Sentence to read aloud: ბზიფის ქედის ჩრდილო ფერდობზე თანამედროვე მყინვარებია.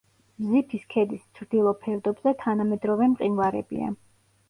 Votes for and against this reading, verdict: 2, 0, accepted